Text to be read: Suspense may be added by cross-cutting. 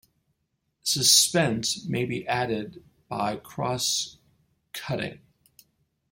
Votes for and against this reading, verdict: 9, 2, accepted